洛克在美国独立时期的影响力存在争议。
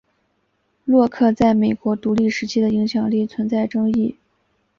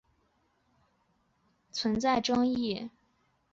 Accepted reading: first